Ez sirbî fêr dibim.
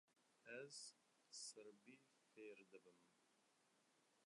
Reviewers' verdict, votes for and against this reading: rejected, 0, 2